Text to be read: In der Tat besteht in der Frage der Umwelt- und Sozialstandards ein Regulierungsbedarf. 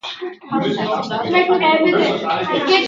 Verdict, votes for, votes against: rejected, 0, 2